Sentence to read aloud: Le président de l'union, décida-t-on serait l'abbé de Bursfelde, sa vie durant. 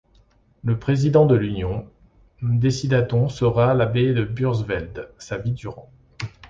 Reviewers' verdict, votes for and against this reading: rejected, 1, 2